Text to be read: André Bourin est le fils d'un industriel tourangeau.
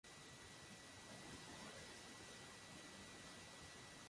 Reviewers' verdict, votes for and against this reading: rejected, 0, 2